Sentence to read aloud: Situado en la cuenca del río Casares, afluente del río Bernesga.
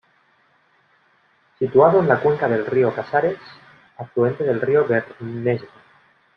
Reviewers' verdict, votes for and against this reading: rejected, 1, 2